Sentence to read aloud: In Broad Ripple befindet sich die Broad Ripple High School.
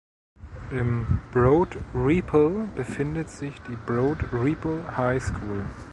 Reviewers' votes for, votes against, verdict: 0, 3, rejected